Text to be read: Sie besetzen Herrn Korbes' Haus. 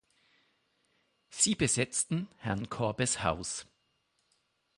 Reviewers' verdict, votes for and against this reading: rejected, 3, 6